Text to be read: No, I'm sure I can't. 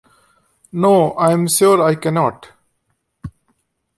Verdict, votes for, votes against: rejected, 1, 2